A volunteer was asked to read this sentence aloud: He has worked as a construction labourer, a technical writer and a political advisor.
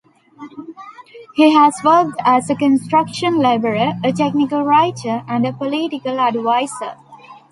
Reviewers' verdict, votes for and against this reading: accepted, 2, 1